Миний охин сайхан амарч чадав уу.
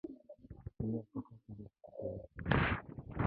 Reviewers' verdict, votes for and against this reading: rejected, 1, 2